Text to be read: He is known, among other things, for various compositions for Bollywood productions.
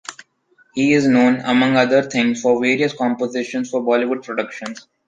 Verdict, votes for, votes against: accepted, 2, 0